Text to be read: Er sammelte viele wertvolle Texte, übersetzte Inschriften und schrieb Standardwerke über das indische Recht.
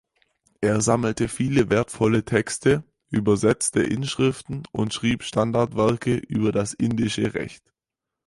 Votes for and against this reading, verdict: 4, 0, accepted